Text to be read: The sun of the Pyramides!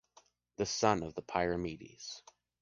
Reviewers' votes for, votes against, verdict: 2, 1, accepted